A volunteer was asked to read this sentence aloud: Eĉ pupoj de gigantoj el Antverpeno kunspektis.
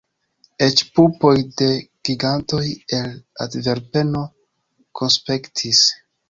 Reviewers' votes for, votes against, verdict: 1, 2, rejected